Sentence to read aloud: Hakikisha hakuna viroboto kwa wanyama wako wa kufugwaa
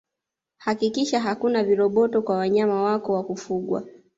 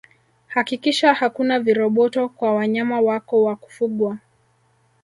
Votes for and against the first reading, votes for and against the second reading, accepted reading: 2, 1, 1, 2, first